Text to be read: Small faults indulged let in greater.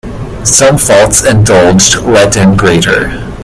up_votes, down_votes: 0, 2